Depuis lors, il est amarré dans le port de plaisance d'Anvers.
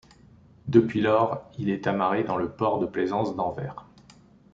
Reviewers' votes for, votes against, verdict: 2, 0, accepted